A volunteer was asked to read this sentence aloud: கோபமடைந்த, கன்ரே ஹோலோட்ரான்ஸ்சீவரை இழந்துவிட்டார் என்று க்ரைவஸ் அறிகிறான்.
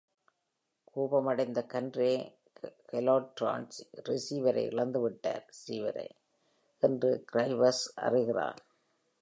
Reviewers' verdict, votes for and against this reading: rejected, 1, 2